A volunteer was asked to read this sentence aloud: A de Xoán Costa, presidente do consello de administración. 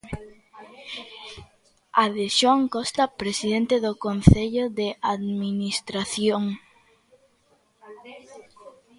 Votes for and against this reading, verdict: 0, 2, rejected